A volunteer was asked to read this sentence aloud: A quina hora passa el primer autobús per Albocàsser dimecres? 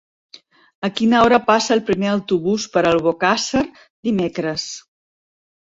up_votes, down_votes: 1, 2